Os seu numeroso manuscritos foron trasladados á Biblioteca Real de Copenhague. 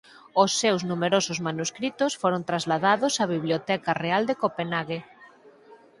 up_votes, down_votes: 0, 4